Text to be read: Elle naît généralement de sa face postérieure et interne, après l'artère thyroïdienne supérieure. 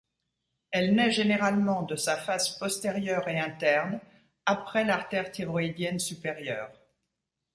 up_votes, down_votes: 0, 2